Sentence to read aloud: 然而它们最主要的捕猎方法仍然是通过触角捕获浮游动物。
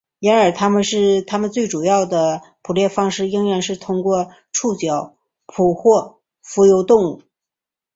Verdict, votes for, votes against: rejected, 0, 3